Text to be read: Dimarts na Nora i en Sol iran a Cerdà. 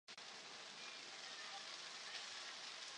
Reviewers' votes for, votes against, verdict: 0, 2, rejected